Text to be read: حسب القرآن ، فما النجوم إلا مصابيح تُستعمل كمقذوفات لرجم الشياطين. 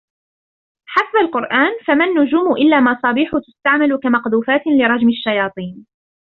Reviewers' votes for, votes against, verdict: 0, 2, rejected